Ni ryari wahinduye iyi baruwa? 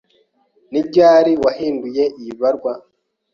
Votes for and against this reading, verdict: 0, 2, rejected